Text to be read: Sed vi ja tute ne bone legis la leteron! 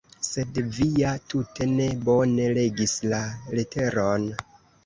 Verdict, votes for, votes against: rejected, 1, 2